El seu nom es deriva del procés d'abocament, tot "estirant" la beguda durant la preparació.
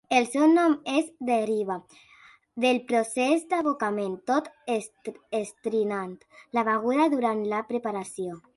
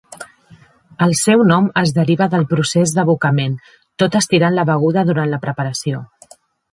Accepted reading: second